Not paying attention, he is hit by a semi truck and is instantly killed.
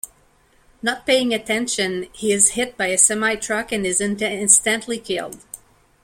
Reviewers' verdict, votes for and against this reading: rejected, 1, 2